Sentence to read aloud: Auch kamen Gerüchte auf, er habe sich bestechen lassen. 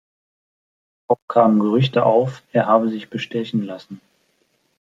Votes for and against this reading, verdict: 2, 1, accepted